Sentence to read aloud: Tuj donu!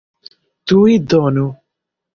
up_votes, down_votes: 2, 0